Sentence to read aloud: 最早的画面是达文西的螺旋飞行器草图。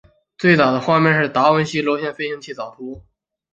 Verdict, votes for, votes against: accepted, 4, 0